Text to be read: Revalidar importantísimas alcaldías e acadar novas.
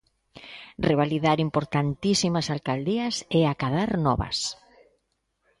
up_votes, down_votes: 1, 2